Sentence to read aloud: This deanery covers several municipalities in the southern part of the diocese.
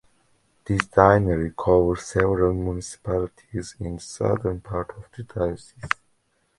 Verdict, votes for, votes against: rejected, 0, 2